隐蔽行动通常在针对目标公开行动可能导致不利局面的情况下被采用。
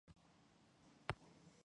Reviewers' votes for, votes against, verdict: 0, 3, rejected